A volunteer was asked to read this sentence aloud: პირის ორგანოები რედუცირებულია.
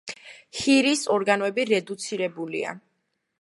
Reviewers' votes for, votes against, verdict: 0, 2, rejected